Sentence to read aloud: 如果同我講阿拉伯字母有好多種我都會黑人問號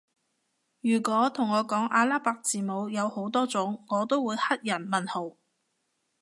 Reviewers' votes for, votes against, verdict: 2, 0, accepted